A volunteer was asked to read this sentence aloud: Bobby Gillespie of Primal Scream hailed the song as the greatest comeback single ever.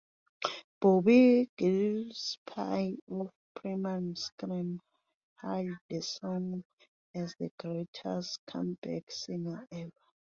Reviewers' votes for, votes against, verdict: 1, 2, rejected